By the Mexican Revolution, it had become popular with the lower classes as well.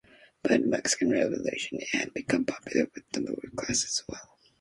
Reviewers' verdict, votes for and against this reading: accepted, 2, 1